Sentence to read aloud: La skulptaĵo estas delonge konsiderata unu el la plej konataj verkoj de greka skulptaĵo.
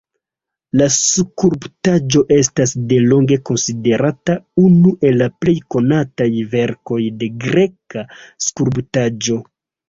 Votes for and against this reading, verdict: 2, 1, accepted